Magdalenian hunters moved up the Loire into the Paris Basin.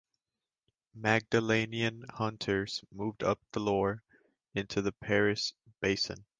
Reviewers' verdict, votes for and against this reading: accepted, 2, 0